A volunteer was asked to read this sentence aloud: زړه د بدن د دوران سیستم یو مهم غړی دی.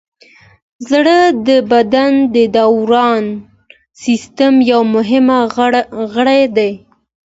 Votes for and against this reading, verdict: 2, 0, accepted